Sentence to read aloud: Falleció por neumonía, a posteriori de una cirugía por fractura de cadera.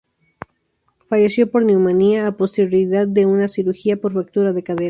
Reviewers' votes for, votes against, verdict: 0, 2, rejected